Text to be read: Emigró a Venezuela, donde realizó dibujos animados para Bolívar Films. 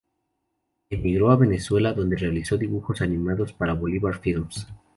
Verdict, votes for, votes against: rejected, 0, 2